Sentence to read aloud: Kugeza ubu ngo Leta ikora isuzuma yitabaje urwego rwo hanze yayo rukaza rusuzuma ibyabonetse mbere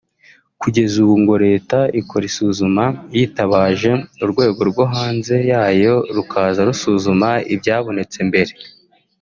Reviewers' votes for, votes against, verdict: 3, 0, accepted